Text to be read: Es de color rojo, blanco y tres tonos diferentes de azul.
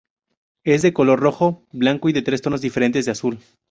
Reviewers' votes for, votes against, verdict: 0, 2, rejected